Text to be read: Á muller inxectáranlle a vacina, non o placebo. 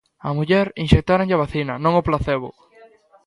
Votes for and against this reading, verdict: 1, 2, rejected